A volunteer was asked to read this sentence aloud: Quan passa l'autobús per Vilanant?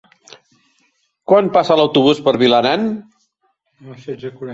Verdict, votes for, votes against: rejected, 0, 2